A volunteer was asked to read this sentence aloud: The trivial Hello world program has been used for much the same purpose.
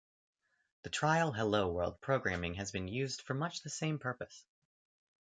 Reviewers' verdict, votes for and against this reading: rejected, 1, 2